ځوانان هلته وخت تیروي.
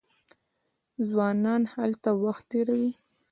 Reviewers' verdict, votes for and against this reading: rejected, 0, 2